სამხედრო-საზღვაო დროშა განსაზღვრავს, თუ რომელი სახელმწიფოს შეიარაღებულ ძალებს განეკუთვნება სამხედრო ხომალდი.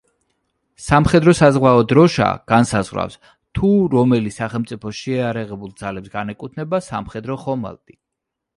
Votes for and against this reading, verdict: 0, 2, rejected